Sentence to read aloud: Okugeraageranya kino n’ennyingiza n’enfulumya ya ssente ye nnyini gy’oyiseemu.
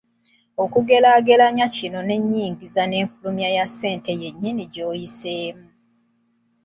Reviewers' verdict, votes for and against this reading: accepted, 2, 0